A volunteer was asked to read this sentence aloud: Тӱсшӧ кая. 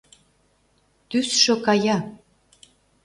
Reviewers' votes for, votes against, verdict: 2, 0, accepted